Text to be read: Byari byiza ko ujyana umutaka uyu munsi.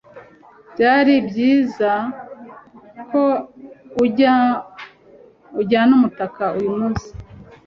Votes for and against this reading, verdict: 0, 2, rejected